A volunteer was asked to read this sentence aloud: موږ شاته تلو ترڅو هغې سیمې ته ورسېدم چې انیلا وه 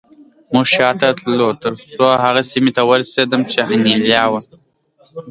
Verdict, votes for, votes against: accepted, 2, 0